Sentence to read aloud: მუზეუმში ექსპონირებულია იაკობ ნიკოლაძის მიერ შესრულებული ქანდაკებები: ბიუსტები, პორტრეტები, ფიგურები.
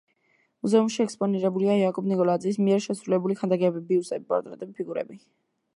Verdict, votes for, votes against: rejected, 1, 2